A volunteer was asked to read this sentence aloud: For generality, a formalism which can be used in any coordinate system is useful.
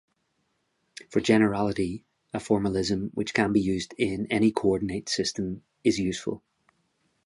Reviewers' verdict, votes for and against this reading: accepted, 3, 0